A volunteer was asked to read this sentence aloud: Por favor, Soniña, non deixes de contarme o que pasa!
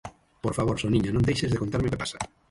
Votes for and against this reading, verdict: 6, 0, accepted